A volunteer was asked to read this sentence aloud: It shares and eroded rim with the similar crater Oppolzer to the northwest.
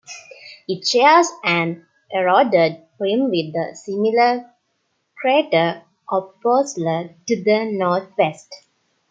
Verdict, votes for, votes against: rejected, 0, 2